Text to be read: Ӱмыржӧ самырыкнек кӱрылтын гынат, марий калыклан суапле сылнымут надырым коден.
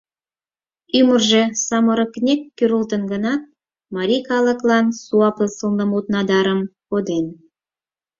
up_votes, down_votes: 2, 4